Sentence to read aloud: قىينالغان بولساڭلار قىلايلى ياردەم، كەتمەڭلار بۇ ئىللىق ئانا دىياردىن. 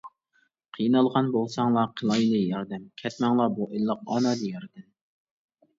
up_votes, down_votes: 2, 1